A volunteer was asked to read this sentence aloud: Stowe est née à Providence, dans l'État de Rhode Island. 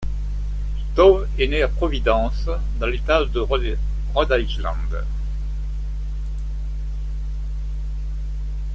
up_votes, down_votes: 0, 2